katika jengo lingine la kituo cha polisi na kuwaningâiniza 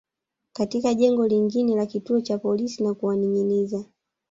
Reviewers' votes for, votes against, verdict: 0, 2, rejected